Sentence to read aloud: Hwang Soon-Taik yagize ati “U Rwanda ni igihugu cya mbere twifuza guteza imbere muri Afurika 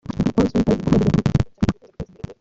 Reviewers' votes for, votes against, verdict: 0, 2, rejected